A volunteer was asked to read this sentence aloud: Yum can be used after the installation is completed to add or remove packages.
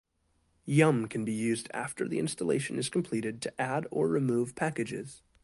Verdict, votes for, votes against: accepted, 2, 0